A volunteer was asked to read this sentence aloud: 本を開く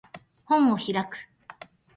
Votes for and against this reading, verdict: 2, 0, accepted